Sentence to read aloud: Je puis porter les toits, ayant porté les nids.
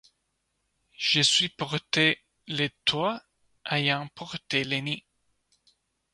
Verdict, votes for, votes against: rejected, 1, 2